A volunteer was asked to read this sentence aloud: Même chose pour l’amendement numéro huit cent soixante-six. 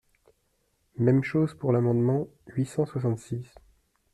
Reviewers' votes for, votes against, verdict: 0, 2, rejected